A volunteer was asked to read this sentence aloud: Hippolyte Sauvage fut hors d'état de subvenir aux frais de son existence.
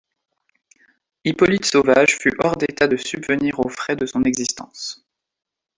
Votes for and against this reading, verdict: 1, 2, rejected